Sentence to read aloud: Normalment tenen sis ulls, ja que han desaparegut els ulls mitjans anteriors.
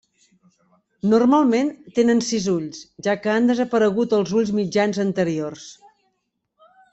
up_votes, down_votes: 3, 0